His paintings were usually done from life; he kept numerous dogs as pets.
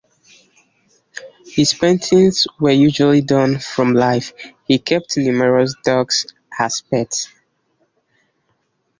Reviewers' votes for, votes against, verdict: 3, 0, accepted